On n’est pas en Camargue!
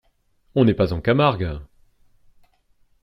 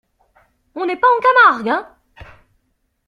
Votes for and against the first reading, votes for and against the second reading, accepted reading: 2, 0, 1, 2, first